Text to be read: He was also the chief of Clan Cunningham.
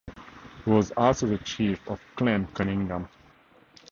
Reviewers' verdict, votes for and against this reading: accepted, 2, 0